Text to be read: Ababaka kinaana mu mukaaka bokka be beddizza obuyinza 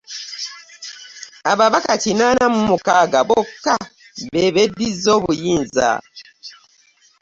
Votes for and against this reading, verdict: 2, 0, accepted